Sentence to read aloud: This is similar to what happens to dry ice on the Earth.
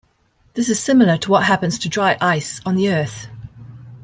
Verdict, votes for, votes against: rejected, 0, 2